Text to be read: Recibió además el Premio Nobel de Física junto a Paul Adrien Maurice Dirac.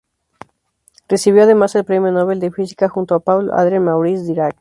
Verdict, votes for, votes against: accepted, 2, 0